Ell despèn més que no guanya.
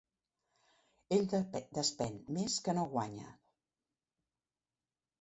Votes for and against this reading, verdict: 0, 2, rejected